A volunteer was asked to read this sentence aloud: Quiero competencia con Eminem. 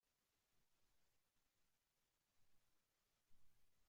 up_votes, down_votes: 0, 3